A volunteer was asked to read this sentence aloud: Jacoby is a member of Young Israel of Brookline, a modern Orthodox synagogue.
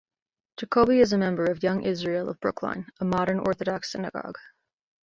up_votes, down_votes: 2, 0